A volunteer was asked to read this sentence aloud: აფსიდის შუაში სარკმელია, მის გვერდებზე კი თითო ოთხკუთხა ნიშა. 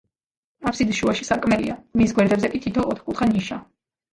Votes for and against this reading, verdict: 2, 0, accepted